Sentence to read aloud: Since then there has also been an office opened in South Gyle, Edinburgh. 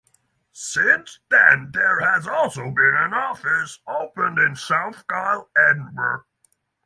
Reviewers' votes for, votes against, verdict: 6, 0, accepted